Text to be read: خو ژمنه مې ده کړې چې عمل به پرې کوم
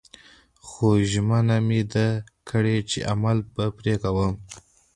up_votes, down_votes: 2, 1